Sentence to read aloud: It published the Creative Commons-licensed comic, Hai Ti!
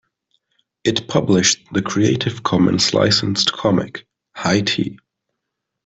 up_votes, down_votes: 2, 0